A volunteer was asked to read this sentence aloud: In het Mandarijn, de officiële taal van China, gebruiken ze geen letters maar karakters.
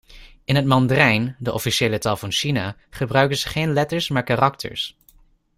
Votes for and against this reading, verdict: 2, 0, accepted